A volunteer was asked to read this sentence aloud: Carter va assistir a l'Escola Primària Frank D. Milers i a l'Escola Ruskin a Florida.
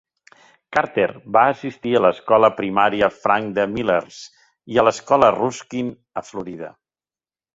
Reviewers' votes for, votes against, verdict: 2, 0, accepted